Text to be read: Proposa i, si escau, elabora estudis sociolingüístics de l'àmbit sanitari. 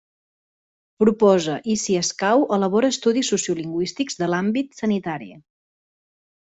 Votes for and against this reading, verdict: 3, 0, accepted